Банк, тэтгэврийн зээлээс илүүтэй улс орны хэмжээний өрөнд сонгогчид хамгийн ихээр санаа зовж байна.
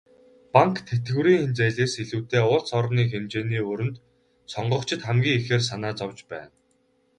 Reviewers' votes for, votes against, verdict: 2, 2, rejected